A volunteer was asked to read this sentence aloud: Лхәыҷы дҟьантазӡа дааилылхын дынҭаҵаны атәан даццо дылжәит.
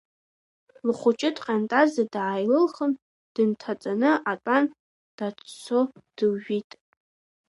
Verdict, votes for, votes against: rejected, 1, 2